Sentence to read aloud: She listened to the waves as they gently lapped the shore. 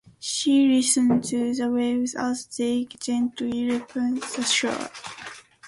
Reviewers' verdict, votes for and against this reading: rejected, 1, 2